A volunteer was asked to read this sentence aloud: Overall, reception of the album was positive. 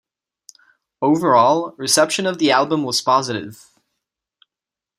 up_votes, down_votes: 2, 0